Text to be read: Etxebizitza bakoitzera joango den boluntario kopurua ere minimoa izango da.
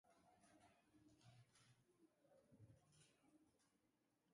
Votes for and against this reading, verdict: 0, 2, rejected